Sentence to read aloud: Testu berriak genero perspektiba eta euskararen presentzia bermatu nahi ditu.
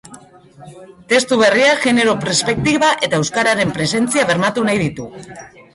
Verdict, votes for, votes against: accepted, 2, 1